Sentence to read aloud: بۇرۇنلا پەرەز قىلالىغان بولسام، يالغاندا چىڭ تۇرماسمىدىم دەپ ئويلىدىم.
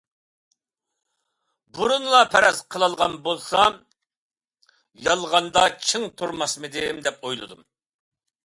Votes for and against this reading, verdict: 2, 0, accepted